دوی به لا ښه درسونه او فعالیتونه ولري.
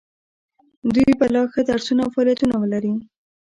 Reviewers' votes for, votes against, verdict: 1, 2, rejected